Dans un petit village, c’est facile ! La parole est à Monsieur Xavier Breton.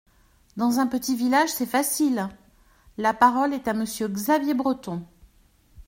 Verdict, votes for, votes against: accepted, 2, 0